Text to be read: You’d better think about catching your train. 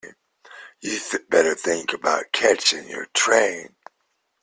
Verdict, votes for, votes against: rejected, 1, 2